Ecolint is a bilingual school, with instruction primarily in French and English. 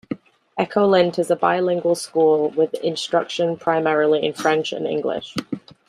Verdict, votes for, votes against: accepted, 2, 0